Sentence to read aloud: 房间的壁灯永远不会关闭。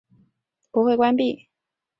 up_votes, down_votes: 0, 3